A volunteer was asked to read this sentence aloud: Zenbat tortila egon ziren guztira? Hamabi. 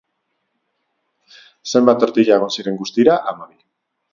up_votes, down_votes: 4, 0